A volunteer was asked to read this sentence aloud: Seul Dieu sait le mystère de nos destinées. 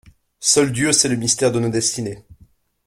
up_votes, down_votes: 2, 0